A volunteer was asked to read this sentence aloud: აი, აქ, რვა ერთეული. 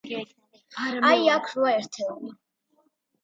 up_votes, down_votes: 2, 1